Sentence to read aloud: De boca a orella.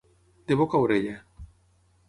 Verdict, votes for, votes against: accepted, 6, 0